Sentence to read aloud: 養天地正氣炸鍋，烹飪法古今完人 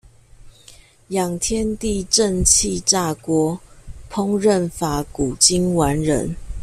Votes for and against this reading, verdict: 2, 0, accepted